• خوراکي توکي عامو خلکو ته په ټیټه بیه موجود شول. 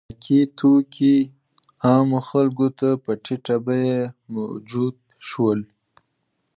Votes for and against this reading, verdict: 2, 0, accepted